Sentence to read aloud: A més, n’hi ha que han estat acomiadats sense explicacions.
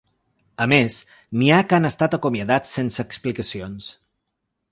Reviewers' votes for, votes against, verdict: 2, 0, accepted